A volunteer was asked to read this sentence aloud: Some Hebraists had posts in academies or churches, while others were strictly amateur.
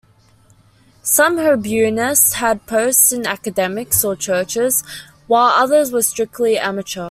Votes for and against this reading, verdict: 2, 0, accepted